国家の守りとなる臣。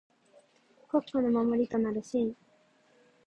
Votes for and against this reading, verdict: 4, 2, accepted